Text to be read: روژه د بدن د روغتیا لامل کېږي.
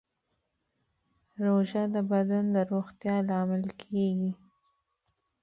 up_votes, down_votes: 1, 2